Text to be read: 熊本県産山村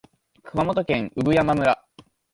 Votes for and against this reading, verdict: 2, 0, accepted